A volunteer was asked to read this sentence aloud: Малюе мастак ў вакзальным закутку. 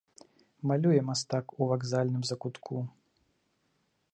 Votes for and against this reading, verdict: 2, 0, accepted